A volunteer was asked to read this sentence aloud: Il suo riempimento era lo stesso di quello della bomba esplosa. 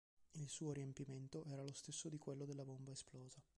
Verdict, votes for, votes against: accepted, 3, 1